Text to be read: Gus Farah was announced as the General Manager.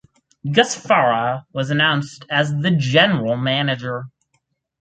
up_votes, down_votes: 4, 0